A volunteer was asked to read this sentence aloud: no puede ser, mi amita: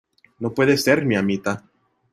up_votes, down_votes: 2, 0